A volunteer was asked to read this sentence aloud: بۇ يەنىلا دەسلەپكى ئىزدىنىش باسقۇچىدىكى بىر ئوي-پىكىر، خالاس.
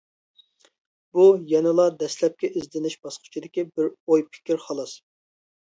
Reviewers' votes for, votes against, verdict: 2, 0, accepted